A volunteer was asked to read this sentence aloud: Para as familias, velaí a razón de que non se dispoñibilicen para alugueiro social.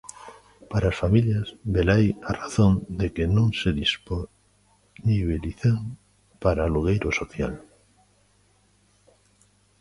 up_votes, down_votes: 1, 2